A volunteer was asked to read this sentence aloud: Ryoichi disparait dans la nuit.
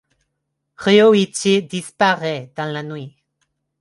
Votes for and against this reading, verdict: 2, 0, accepted